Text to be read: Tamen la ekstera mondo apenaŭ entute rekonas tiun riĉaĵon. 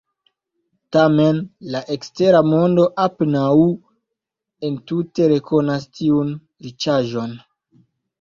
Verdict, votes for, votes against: accepted, 2, 0